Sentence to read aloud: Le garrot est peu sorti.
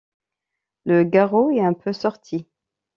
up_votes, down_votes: 1, 2